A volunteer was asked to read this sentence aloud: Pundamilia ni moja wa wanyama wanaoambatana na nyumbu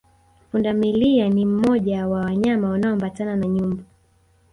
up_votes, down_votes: 1, 2